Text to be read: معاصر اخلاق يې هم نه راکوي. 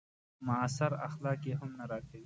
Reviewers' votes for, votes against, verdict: 2, 0, accepted